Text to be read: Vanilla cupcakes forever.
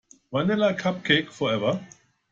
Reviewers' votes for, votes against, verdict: 1, 2, rejected